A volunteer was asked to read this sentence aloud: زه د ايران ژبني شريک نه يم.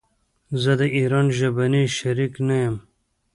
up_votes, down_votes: 0, 2